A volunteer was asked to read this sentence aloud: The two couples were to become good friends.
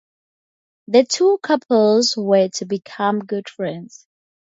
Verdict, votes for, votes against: accepted, 4, 0